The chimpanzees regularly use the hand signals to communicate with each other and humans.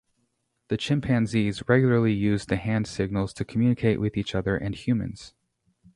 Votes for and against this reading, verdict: 2, 0, accepted